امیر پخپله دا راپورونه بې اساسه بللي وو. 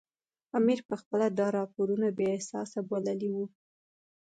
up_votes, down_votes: 1, 2